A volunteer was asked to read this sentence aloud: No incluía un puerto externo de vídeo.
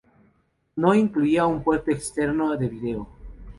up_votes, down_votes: 2, 0